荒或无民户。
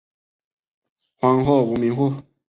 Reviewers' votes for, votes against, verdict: 3, 1, accepted